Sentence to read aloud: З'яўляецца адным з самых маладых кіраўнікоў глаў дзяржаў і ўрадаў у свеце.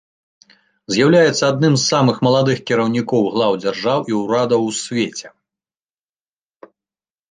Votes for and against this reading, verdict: 2, 0, accepted